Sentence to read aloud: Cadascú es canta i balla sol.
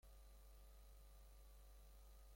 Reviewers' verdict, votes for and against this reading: rejected, 0, 2